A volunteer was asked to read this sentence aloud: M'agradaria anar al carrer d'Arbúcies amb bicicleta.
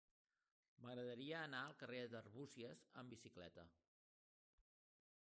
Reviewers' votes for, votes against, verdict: 0, 2, rejected